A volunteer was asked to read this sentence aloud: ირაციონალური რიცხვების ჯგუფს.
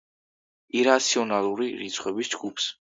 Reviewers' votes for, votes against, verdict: 2, 0, accepted